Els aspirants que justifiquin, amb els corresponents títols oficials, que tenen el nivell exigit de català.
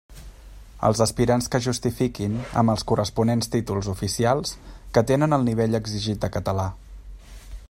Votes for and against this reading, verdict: 2, 0, accepted